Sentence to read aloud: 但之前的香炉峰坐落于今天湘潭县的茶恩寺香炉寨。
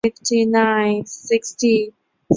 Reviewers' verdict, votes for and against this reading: rejected, 0, 4